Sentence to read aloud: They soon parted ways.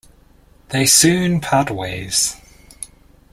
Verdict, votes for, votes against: rejected, 0, 2